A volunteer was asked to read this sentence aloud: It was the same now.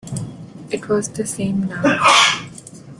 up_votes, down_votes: 1, 2